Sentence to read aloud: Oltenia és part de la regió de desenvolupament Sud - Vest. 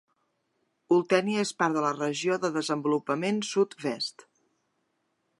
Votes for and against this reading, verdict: 2, 1, accepted